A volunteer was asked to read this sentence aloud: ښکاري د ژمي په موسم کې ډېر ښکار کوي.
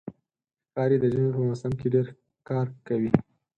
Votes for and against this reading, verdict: 4, 0, accepted